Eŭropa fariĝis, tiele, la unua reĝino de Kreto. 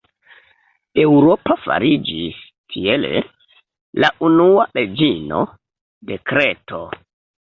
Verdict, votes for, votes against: accepted, 2, 1